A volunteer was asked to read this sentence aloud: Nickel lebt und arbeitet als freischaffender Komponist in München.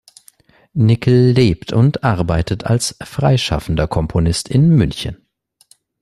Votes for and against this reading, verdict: 2, 0, accepted